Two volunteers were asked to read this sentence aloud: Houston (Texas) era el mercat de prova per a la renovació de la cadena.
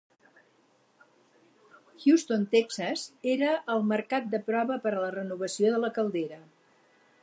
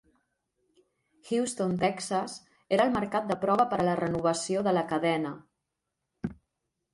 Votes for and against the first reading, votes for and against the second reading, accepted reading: 2, 2, 3, 0, second